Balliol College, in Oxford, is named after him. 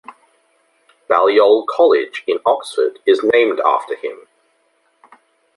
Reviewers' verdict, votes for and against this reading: accepted, 2, 0